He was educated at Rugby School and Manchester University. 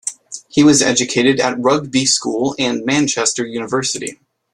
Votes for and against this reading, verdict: 2, 1, accepted